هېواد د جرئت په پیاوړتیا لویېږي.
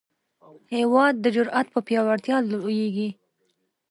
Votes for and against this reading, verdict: 2, 1, accepted